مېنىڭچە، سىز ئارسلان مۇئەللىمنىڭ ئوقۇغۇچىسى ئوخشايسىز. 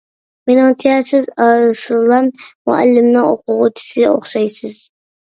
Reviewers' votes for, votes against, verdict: 2, 1, accepted